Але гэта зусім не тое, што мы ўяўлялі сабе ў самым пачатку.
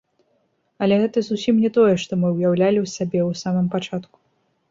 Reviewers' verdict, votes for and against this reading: rejected, 1, 2